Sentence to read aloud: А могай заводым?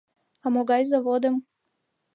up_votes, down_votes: 2, 0